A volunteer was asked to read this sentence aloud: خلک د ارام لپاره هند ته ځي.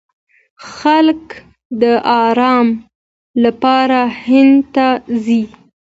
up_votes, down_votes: 2, 1